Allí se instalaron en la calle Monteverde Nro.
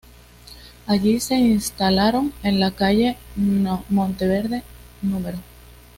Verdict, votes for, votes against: accepted, 2, 0